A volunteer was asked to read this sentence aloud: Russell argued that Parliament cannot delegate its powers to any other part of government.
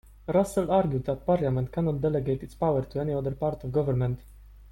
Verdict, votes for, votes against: accepted, 2, 0